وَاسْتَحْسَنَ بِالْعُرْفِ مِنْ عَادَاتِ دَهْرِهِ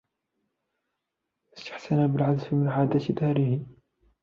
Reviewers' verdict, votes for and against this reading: rejected, 0, 2